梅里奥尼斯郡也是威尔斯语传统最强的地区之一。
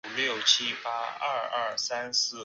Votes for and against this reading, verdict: 0, 6, rejected